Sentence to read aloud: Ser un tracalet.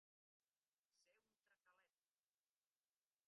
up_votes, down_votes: 1, 2